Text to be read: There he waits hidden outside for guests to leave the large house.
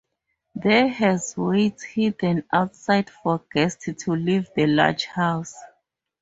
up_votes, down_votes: 0, 4